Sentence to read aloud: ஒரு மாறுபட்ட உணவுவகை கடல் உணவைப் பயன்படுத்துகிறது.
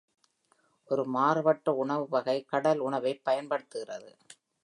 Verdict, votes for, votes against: rejected, 1, 2